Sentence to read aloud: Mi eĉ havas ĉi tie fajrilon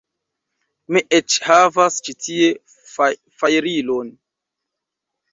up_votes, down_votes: 1, 2